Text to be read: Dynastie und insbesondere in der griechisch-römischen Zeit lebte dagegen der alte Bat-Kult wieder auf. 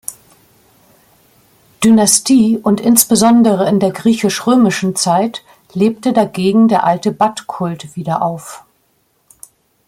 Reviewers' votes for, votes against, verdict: 2, 0, accepted